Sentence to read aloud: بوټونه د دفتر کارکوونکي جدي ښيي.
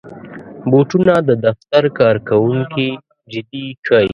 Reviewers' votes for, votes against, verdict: 0, 2, rejected